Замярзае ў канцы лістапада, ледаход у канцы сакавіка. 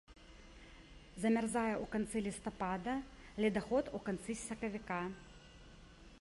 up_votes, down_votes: 2, 0